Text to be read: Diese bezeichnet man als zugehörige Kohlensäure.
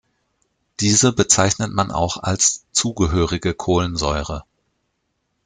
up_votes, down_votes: 1, 2